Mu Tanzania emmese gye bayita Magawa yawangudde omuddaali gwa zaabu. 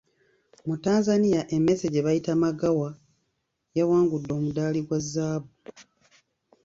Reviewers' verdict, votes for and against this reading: rejected, 1, 2